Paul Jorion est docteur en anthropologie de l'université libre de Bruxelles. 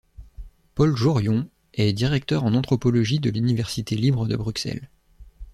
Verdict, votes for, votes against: rejected, 0, 2